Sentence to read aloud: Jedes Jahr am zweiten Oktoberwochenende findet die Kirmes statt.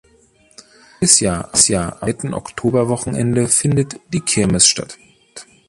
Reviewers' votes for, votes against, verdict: 0, 2, rejected